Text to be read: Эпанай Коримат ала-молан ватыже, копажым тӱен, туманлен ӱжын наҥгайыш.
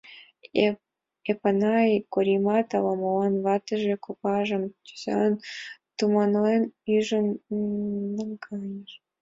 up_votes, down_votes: 0, 2